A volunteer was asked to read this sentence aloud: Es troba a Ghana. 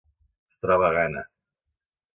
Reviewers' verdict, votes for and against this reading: accepted, 2, 1